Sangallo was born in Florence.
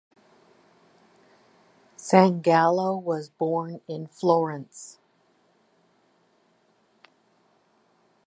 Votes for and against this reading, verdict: 2, 0, accepted